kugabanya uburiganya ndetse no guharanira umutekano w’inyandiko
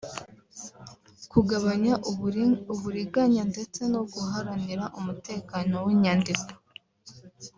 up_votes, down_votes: 0, 2